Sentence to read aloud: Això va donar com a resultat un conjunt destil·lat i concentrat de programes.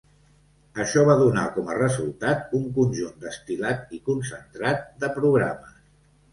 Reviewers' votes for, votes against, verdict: 1, 2, rejected